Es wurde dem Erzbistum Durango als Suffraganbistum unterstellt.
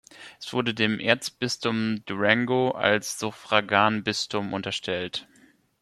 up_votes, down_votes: 1, 2